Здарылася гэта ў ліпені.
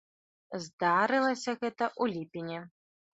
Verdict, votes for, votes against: accepted, 2, 0